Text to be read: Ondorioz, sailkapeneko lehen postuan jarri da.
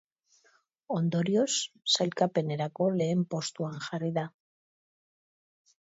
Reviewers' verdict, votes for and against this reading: rejected, 1, 2